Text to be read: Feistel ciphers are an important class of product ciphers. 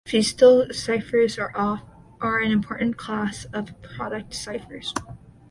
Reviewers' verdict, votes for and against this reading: accepted, 2, 1